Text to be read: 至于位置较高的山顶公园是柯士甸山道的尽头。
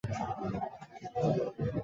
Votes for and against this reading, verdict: 0, 2, rejected